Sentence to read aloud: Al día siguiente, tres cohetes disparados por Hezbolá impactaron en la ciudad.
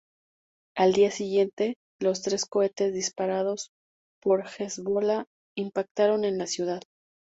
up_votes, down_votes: 0, 2